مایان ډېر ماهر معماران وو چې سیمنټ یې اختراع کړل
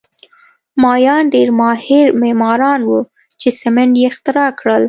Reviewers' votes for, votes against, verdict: 2, 0, accepted